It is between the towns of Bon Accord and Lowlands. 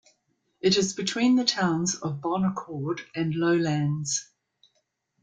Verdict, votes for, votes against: accepted, 2, 0